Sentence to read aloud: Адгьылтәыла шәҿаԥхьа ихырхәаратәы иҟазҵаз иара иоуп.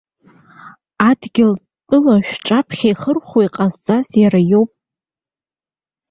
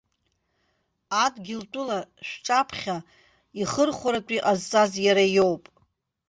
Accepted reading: second